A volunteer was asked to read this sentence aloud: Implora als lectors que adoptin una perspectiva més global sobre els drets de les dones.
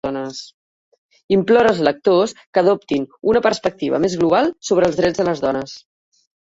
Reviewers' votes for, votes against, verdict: 1, 2, rejected